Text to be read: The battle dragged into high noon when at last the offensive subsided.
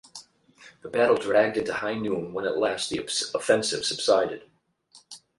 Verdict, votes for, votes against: rejected, 4, 8